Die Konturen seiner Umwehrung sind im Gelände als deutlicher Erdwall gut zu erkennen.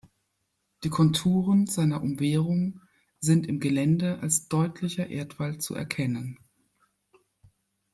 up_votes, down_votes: 1, 2